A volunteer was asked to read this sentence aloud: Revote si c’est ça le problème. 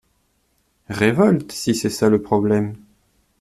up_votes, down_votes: 0, 2